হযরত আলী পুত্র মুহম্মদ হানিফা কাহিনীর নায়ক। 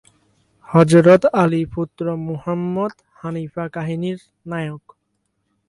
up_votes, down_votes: 4, 0